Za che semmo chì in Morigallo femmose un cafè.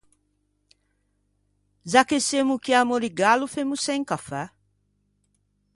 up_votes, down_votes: 0, 2